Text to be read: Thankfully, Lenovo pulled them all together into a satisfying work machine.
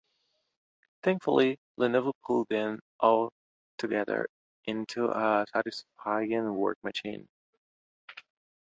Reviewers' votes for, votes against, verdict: 2, 1, accepted